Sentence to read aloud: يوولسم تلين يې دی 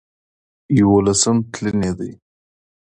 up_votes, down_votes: 2, 0